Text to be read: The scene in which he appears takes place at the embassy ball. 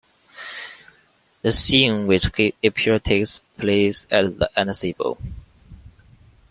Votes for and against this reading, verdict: 0, 2, rejected